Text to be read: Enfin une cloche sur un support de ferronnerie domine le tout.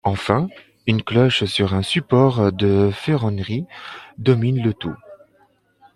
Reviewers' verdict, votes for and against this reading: accepted, 2, 0